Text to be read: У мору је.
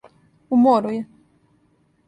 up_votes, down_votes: 2, 0